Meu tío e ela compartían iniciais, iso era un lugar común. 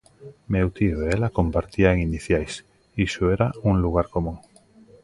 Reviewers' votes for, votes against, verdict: 2, 0, accepted